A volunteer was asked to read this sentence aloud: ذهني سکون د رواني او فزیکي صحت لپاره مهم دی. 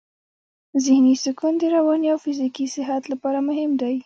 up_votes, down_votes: 1, 2